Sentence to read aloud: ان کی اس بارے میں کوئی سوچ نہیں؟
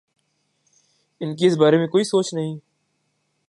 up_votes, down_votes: 3, 0